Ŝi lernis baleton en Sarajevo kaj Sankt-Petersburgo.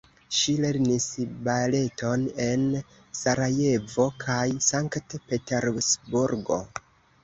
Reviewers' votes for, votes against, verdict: 2, 0, accepted